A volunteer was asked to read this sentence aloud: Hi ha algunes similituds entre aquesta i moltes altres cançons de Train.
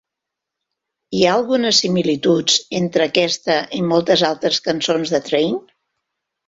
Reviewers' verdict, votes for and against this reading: rejected, 1, 2